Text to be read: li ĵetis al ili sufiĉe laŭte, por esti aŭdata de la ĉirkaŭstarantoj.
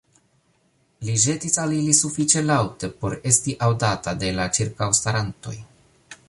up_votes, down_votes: 2, 0